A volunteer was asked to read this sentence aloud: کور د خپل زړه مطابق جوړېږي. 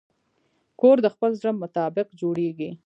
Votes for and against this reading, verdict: 1, 2, rejected